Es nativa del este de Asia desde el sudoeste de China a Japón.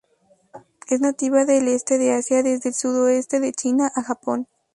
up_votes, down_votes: 2, 0